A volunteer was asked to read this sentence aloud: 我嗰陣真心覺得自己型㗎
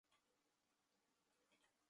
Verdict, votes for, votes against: rejected, 0, 4